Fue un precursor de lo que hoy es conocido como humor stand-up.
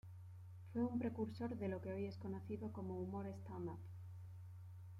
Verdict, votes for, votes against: rejected, 1, 2